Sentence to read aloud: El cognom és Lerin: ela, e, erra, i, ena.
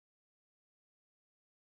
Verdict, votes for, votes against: rejected, 0, 2